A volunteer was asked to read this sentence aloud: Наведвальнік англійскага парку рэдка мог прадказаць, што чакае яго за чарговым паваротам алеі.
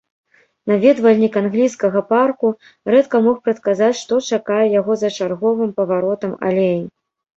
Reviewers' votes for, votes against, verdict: 2, 0, accepted